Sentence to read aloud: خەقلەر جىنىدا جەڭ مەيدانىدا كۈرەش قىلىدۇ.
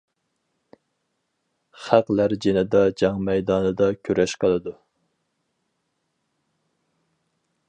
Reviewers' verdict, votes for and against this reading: accepted, 4, 0